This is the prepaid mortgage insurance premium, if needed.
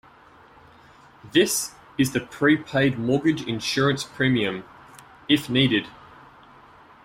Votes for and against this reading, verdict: 2, 0, accepted